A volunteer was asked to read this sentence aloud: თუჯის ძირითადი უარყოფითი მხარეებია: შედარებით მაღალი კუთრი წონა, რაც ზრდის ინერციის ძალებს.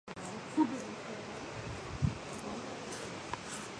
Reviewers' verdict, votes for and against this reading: rejected, 0, 3